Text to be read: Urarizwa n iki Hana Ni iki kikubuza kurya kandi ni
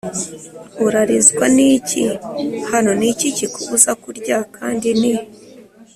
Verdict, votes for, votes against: accepted, 2, 0